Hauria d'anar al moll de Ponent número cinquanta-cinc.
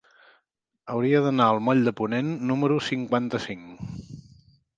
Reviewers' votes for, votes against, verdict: 3, 0, accepted